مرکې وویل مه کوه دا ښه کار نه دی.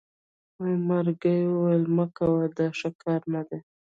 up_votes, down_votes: 1, 2